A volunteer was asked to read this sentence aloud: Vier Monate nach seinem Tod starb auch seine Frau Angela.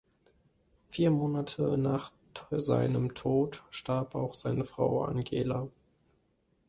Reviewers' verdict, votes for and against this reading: rejected, 0, 2